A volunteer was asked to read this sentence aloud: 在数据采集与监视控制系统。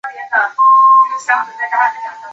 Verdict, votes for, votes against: rejected, 1, 3